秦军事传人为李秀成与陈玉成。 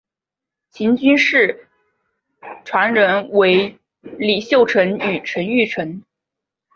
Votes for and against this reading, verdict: 3, 0, accepted